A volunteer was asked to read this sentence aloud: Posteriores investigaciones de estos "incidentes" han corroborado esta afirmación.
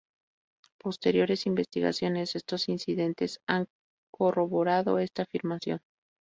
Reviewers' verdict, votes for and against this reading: accepted, 2, 0